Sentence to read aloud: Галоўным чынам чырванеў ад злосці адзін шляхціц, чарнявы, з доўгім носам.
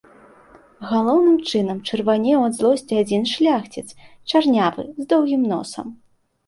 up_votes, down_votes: 2, 0